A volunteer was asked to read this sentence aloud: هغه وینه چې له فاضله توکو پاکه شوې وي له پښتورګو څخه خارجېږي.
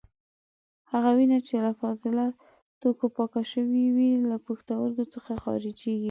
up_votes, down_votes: 2, 0